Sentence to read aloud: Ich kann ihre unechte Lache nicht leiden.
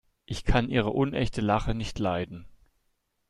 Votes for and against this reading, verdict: 2, 0, accepted